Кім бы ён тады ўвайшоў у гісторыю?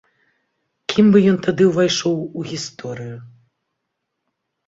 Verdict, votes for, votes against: accepted, 2, 0